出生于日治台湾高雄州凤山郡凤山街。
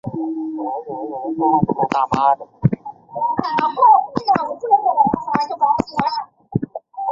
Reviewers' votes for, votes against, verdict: 0, 2, rejected